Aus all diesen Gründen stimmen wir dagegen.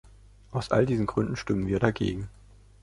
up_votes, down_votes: 3, 0